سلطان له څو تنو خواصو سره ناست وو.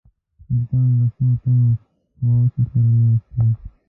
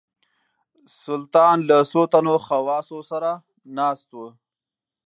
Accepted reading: second